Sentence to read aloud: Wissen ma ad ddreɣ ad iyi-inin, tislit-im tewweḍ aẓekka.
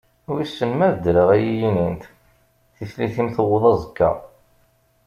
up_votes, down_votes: 1, 2